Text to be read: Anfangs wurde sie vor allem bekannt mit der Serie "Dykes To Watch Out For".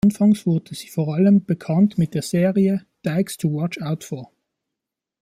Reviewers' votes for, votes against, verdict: 2, 1, accepted